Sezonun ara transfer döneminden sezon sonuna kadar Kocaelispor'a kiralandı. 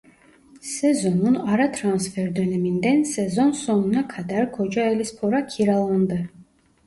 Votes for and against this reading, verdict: 2, 0, accepted